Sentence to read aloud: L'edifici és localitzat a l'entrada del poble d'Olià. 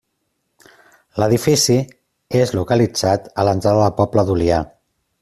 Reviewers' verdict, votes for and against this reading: accepted, 3, 0